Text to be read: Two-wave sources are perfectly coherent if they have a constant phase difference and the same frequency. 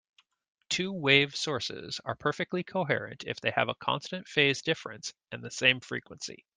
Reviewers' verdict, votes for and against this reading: accepted, 2, 0